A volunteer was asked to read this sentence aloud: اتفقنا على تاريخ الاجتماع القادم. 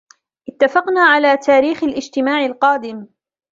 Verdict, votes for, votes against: accepted, 2, 0